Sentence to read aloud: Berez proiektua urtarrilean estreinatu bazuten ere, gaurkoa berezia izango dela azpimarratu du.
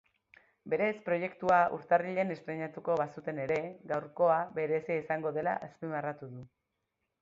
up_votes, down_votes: 1, 2